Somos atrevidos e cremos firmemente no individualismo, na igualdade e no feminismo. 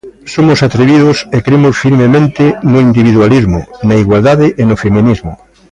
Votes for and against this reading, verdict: 2, 0, accepted